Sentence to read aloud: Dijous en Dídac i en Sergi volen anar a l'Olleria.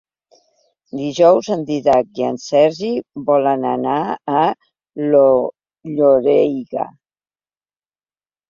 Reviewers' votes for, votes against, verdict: 0, 2, rejected